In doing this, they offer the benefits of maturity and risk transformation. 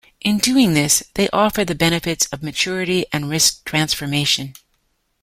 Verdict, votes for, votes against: accepted, 2, 0